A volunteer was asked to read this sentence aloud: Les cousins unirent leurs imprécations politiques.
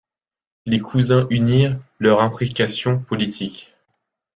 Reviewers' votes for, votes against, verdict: 2, 0, accepted